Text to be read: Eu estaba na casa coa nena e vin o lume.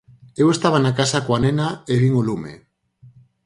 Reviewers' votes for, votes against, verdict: 4, 0, accepted